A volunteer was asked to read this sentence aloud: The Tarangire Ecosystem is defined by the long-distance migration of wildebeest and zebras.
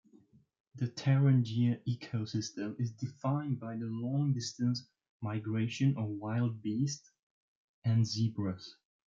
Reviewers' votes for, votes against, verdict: 2, 1, accepted